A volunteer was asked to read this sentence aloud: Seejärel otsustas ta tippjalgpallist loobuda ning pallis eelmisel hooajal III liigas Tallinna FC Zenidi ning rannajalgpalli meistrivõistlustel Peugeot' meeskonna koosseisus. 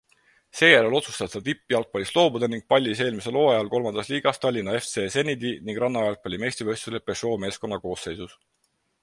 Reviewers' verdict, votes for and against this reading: accepted, 4, 0